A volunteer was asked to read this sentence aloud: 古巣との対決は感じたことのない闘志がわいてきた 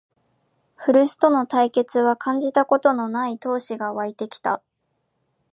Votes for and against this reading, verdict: 2, 0, accepted